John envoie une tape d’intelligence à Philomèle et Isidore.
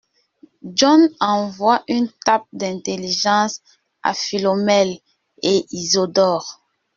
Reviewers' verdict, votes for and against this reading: rejected, 1, 2